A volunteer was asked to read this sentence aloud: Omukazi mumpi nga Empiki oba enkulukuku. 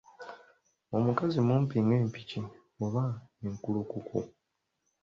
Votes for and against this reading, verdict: 2, 0, accepted